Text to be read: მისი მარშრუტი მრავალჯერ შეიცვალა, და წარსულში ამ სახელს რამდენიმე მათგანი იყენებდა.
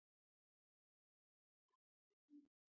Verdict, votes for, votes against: rejected, 0, 2